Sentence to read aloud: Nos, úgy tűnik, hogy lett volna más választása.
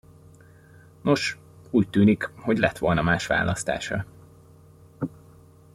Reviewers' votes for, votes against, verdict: 2, 1, accepted